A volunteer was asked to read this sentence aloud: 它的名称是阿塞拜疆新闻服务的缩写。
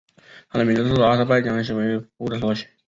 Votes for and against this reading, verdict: 0, 4, rejected